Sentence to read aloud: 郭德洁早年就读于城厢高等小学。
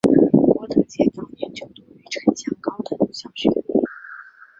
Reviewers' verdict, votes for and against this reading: rejected, 0, 2